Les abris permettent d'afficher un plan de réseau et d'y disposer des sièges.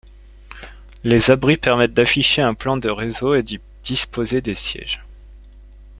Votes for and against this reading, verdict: 2, 0, accepted